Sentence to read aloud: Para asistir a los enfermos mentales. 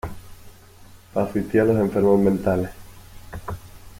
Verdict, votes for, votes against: rejected, 1, 2